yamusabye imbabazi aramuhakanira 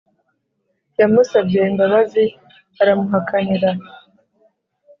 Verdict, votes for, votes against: accepted, 2, 0